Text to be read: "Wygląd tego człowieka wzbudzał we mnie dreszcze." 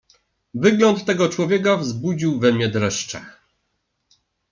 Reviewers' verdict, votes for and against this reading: rejected, 1, 2